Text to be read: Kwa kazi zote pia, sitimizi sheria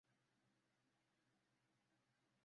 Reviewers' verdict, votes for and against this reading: rejected, 0, 2